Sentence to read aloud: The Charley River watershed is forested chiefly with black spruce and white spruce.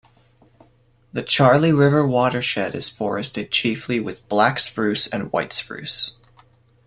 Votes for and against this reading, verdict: 2, 0, accepted